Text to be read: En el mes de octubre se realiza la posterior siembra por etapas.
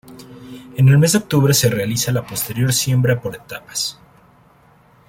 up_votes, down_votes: 2, 0